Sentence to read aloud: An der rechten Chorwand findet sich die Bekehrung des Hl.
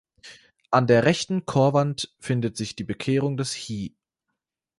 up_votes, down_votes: 0, 2